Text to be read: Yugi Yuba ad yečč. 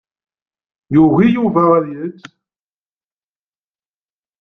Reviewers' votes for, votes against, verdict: 2, 0, accepted